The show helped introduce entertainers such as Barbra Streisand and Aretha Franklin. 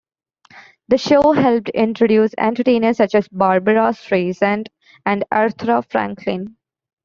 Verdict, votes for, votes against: rejected, 1, 2